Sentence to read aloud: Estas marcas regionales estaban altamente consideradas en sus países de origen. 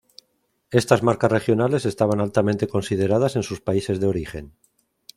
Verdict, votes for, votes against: accepted, 2, 0